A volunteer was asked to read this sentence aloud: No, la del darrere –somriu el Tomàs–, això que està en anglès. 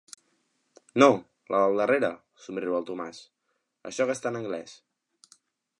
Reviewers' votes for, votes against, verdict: 3, 0, accepted